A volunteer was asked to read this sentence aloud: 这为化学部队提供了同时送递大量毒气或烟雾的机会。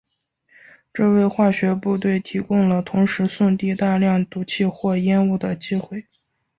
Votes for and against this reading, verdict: 0, 3, rejected